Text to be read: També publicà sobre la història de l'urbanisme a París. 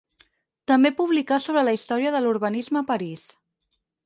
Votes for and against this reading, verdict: 6, 0, accepted